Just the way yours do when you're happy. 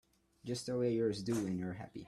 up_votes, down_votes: 2, 0